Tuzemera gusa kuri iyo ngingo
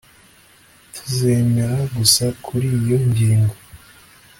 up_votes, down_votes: 2, 0